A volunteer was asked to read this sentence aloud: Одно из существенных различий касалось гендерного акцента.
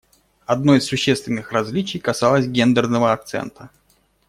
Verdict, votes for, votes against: accepted, 2, 0